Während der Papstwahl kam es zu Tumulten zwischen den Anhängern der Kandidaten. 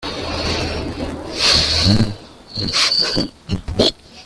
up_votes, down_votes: 0, 2